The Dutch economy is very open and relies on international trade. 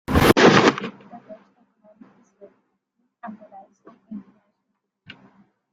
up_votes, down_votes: 0, 2